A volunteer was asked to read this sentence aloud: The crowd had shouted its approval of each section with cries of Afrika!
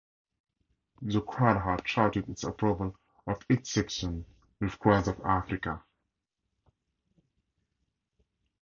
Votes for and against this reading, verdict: 4, 0, accepted